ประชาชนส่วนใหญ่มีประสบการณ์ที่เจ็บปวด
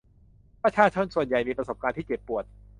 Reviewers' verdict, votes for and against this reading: accepted, 2, 0